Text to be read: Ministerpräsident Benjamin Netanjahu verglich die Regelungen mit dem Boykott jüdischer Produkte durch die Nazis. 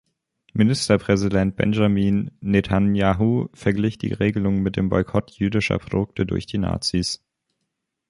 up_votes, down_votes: 2, 3